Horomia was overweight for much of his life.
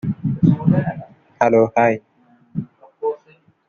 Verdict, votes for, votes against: rejected, 0, 2